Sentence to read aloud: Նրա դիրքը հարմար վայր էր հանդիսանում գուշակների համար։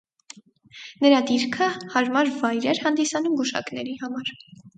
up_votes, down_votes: 4, 0